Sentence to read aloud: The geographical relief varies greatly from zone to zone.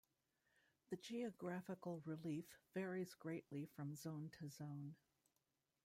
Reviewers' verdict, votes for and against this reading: rejected, 0, 2